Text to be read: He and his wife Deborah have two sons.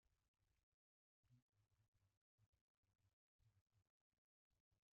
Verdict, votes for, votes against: rejected, 0, 2